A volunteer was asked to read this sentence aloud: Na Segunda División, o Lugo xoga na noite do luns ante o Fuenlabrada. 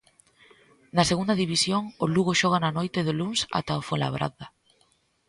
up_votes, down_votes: 0, 2